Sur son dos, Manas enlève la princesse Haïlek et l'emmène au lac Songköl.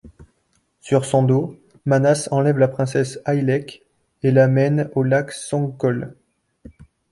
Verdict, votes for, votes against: rejected, 1, 2